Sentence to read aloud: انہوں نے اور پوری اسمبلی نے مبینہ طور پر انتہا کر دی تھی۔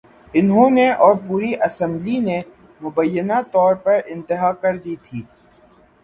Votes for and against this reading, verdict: 6, 0, accepted